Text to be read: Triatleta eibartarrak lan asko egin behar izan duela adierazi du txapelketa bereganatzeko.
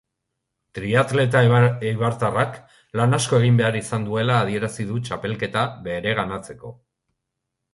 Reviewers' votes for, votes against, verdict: 0, 2, rejected